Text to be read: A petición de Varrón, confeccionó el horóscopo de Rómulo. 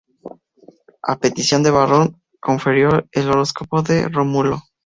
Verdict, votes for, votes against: rejected, 0, 2